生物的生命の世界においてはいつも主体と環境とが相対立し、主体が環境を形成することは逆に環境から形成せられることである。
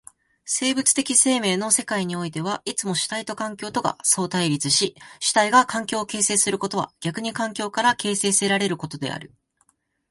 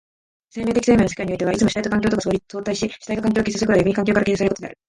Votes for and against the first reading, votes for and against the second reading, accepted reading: 2, 1, 1, 2, first